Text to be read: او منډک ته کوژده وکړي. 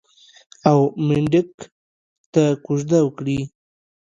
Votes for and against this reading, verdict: 2, 1, accepted